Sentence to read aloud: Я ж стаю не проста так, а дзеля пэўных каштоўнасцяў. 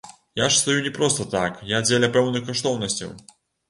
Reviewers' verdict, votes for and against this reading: rejected, 1, 2